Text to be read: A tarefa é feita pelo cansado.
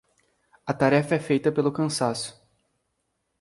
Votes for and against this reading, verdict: 0, 2, rejected